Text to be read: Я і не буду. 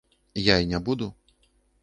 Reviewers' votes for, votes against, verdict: 2, 0, accepted